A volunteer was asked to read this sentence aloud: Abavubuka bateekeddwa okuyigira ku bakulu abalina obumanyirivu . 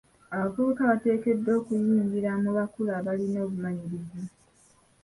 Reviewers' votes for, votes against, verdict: 2, 0, accepted